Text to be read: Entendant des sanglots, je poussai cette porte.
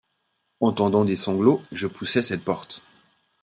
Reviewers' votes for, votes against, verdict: 2, 0, accepted